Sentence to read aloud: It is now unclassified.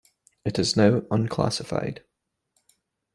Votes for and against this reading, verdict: 2, 0, accepted